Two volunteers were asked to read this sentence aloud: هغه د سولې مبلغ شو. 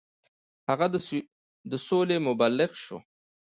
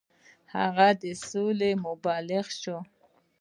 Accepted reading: first